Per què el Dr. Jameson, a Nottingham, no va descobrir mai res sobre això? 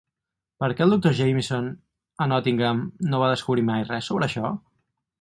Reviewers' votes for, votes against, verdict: 4, 0, accepted